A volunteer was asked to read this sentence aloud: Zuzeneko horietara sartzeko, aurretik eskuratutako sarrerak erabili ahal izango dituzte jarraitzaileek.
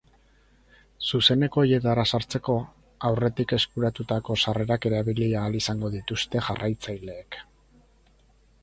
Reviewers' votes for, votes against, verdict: 2, 2, rejected